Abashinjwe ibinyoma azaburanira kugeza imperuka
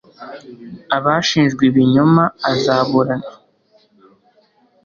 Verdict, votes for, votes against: accepted, 2, 0